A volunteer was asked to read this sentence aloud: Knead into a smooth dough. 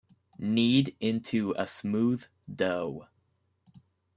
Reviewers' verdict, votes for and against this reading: accepted, 2, 0